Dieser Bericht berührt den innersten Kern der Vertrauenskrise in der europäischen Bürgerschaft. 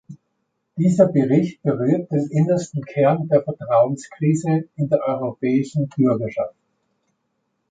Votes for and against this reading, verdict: 2, 0, accepted